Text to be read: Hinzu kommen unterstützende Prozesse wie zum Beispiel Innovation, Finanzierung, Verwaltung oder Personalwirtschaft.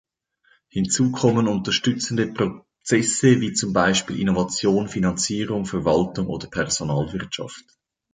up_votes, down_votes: 1, 2